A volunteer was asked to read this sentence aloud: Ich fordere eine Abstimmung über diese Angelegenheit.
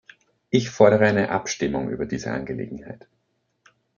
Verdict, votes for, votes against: accepted, 2, 0